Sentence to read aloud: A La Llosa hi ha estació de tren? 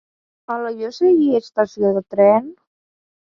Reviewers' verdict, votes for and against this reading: rejected, 0, 2